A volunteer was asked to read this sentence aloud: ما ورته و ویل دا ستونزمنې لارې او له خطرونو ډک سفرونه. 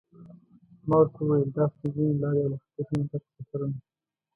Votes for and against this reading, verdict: 0, 2, rejected